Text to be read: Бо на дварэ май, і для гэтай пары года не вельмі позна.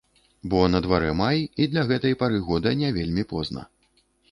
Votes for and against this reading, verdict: 3, 0, accepted